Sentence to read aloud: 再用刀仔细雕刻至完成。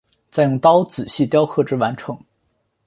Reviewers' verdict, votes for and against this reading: accepted, 2, 0